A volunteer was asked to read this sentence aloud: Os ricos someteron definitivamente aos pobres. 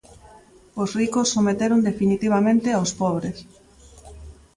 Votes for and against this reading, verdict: 2, 0, accepted